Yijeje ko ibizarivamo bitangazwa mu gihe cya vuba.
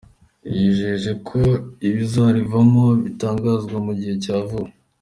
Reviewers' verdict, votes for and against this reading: accepted, 2, 0